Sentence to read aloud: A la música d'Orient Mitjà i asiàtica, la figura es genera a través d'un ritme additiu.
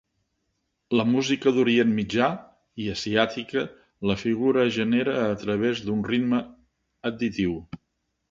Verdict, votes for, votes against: rejected, 2, 3